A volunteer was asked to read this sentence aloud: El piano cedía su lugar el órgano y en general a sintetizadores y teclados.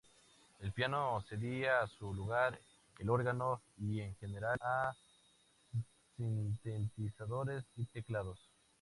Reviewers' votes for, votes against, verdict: 0, 2, rejected